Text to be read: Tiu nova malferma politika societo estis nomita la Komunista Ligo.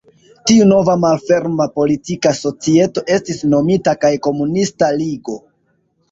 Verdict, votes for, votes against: accepted, 2, 0